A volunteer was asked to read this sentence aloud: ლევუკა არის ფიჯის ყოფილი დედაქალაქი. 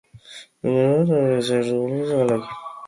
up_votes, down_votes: 0, 2